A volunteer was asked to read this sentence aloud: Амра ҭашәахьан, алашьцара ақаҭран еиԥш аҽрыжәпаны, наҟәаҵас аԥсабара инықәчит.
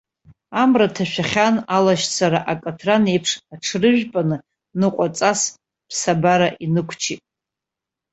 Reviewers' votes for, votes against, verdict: 2, 1, accepted